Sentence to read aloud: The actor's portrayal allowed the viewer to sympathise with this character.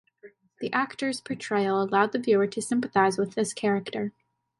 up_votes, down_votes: 2, 1